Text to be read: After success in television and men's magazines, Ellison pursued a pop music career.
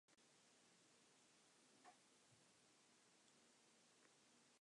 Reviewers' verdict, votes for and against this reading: rejected, 0, 2